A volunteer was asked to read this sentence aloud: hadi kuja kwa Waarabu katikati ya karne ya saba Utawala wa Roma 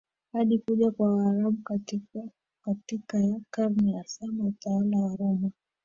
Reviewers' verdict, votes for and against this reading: rejected, 0, 2